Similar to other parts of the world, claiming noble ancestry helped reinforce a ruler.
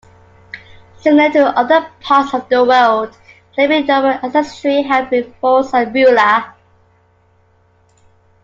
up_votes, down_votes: 0, 2